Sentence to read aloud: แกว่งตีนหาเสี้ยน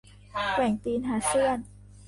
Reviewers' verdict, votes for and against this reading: rejected, 0, 2